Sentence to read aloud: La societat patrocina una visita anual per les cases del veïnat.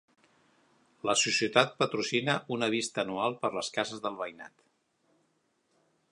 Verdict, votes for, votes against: rejected, 1, 2